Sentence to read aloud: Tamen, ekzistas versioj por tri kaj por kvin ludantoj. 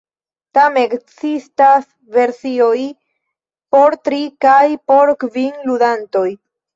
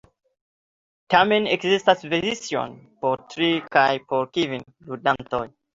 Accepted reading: second